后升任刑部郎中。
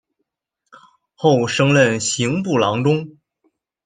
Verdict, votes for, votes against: accepted, 2, 0